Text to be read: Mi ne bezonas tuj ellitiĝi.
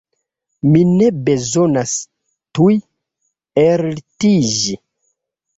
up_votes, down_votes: 0, 2